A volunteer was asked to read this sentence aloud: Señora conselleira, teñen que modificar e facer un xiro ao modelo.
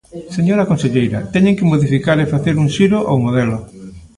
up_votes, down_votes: 1, 2